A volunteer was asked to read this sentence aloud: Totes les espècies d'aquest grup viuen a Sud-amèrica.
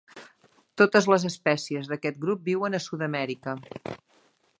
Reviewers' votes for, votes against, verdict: 2, 0, accepted